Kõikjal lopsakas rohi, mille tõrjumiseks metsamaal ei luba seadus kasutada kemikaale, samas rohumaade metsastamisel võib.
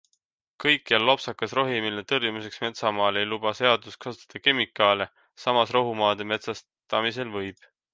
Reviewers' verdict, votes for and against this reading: accepted, 2, 0